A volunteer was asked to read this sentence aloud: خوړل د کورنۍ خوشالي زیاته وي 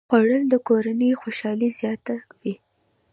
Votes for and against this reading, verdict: 2, 0, accepted